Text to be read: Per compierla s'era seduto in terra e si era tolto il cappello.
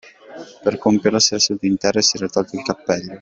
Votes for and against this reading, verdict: 0, 2, rejected